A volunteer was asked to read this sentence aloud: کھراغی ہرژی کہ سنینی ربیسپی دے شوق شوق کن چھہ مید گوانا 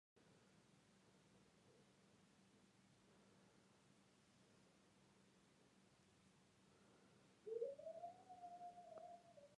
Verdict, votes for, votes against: rejected, 0, 2